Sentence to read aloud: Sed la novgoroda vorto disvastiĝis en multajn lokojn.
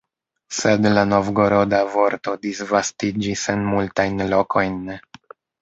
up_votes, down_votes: 1, 2